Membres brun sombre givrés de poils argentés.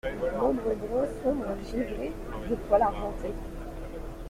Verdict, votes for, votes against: rejected, 1, 2